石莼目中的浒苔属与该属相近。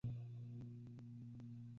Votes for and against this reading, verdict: 2, 0, accepted